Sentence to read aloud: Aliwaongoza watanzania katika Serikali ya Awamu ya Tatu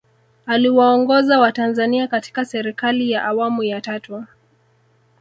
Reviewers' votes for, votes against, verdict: 1, 2, rejected